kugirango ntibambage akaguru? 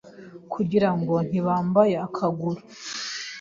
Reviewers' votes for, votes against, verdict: 2, 0, accepted